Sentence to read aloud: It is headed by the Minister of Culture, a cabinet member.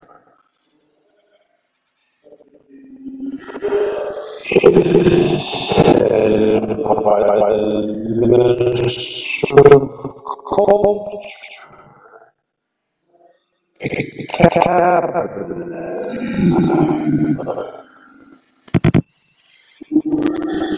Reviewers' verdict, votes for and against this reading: rejected, 0, 2